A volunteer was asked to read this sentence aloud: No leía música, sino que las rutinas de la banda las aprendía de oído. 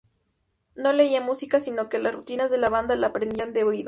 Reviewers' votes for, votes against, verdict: 0, 2, rejected